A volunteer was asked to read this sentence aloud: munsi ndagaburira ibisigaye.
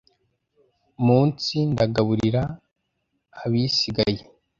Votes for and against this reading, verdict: 0, 2, rejected